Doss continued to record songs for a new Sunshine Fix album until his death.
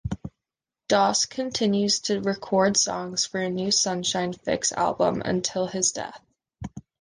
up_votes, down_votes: 1, 2